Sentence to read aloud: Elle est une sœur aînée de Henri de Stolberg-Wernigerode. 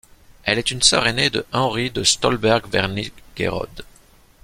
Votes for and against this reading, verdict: 1, 3, rejected